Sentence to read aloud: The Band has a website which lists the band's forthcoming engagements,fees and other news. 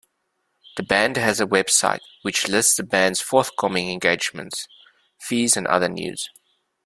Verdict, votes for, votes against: accepted, 2, 0